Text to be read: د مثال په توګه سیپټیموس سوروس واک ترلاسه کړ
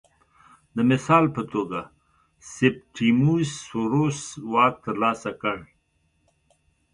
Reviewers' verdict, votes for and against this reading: accepted, 2, 0